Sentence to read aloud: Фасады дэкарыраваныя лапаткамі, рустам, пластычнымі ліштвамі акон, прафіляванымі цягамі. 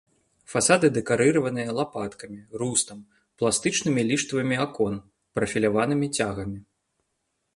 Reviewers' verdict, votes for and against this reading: accepted, 2, 0